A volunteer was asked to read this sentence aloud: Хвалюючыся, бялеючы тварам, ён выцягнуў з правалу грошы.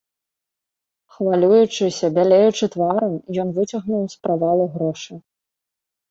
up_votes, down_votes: 3, 0